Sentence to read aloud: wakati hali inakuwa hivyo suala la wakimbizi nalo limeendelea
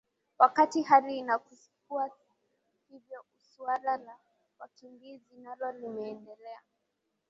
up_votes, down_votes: 2, 0